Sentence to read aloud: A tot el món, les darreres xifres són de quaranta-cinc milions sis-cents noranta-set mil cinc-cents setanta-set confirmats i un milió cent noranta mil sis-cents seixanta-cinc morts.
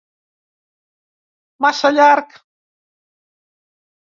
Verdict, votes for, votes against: rejected, 0, 2